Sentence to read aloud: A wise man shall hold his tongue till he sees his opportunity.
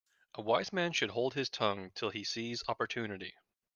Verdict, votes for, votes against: rejected, 0, 2